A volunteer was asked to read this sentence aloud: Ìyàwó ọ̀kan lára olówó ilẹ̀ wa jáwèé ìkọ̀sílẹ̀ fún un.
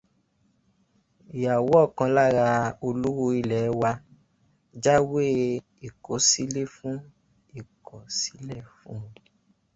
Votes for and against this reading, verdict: 2, 0, accepted